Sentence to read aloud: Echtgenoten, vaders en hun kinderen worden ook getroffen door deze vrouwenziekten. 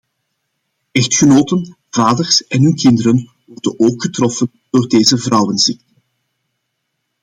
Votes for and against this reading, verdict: 0, 2, rejected